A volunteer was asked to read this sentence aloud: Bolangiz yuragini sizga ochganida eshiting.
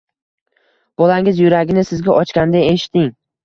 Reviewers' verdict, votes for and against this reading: accepted, 2, 0